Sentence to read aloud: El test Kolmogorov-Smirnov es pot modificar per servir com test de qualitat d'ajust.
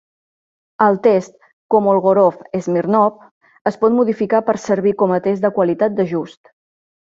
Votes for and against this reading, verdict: 0, 2, rejected